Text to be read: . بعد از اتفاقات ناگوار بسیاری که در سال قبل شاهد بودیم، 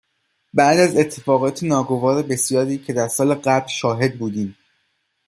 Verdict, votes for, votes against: accepted, 2, 0